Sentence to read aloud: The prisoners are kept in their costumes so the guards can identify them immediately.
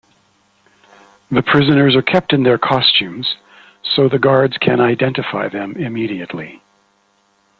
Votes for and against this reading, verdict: 2, 0, accepted